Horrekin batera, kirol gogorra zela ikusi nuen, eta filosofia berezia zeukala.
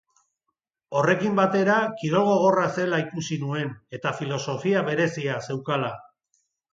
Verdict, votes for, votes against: accepted, 10, 0